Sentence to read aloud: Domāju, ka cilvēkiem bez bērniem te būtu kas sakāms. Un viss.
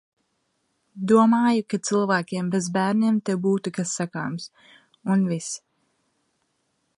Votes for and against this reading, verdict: 4, 0, accepted